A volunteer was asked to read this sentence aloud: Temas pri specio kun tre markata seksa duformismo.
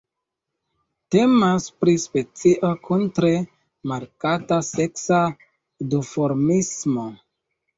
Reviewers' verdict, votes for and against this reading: rejected, 0, 2